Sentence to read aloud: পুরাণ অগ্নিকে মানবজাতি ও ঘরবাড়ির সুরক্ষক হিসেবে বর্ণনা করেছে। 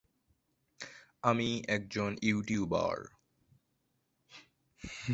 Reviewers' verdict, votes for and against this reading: rejected, 1, 2